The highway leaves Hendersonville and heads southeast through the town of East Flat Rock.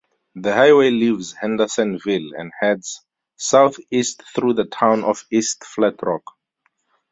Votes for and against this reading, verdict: 2, 0, accepted